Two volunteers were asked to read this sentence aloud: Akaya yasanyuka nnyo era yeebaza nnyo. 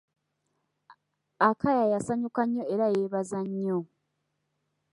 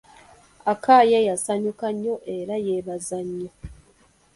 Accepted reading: first